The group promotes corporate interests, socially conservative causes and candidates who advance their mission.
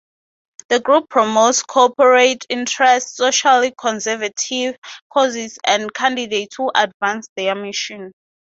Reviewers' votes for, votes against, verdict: 2, 0, accepted